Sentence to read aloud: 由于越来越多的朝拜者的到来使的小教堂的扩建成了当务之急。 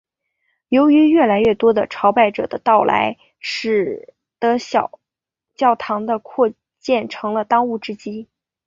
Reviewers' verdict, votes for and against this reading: accepted, 3, 0